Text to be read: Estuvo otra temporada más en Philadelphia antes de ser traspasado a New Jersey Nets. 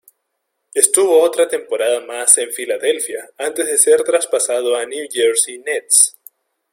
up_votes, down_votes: 2, 0